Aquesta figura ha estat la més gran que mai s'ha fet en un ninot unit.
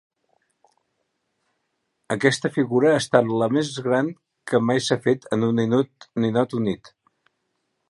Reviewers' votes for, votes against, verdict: 0, 2, rejected